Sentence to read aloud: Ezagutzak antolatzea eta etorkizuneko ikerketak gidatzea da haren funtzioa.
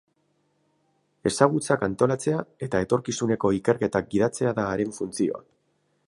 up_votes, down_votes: 4, 0